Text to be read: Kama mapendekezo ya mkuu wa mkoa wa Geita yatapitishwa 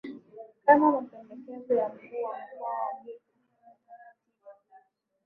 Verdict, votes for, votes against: rejected, 4, 5